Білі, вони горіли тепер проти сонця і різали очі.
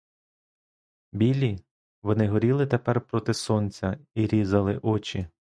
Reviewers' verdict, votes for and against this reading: accepted, 2, 0